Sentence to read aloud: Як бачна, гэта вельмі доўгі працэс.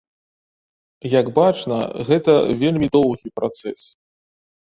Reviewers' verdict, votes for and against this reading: rejected, 1, 2